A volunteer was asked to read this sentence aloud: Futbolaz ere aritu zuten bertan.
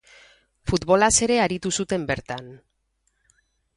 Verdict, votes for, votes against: rejected, 2, 2